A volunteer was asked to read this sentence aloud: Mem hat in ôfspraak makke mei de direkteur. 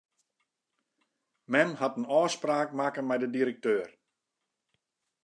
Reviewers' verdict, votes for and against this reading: accepted, 2, 0